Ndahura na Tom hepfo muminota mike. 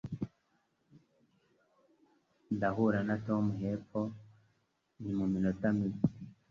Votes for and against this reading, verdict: 2, 1, accepted